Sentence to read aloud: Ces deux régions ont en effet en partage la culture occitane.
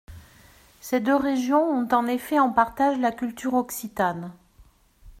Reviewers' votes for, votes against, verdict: 2, 0, accepted